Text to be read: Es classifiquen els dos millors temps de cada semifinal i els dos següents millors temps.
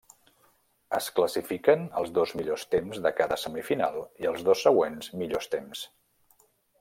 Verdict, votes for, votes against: accepted, 3, 0